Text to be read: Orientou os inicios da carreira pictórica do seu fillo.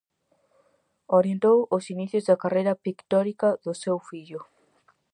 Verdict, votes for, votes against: accepted, 4, 0